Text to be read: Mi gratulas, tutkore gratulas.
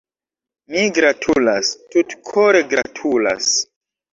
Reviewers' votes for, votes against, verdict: 1, 2, rejected